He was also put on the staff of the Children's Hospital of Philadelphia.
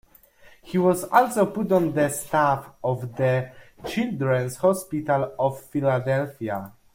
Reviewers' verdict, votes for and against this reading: accepted, 2, 0